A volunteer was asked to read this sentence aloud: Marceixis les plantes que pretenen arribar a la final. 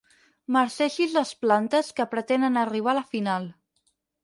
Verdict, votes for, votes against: rejected, 2, 4